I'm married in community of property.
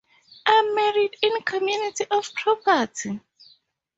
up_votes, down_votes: 2, 0